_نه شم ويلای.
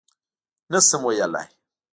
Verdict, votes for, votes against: accepted, 2, 0